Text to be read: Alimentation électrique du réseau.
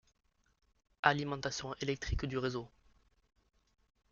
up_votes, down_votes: 2, 0